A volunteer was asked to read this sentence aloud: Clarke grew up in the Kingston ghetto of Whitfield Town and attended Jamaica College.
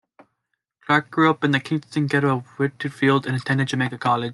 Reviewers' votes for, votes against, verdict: 0, 2, rejected